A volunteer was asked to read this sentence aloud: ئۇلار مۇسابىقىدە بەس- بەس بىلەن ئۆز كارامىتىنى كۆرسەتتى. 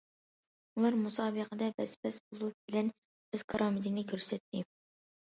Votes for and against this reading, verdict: 0, 2, rejected